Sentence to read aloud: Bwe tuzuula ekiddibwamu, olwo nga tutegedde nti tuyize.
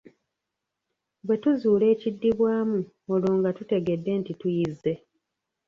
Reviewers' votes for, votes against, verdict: 0, 3, rejected